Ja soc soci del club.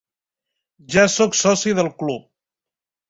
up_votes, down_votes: 3, 0